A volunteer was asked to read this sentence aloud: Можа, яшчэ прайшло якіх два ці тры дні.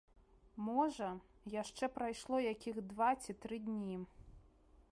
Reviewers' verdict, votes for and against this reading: accepted, 3, 0